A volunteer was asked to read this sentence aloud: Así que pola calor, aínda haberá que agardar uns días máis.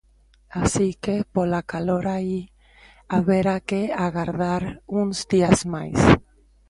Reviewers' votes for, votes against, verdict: 0, 2, rejected